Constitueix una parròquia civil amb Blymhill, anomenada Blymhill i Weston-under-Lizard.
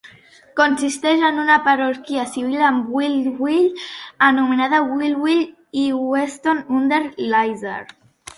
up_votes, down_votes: 0, 2